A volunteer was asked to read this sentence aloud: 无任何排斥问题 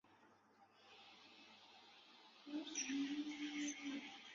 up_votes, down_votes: 1, 4